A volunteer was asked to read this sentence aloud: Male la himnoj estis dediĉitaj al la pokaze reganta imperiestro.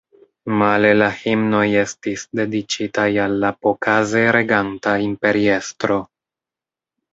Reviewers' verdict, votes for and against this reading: accepted, 2, 1